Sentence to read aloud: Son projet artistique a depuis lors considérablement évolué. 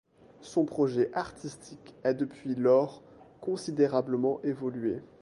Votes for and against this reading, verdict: 1, 2, rejected